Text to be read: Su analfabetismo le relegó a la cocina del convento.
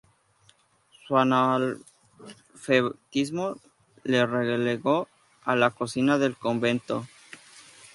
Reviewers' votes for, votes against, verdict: 0, 2, rejected